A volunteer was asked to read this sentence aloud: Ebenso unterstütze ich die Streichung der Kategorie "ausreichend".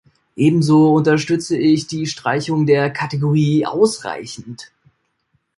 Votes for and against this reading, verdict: 2, 0, accepted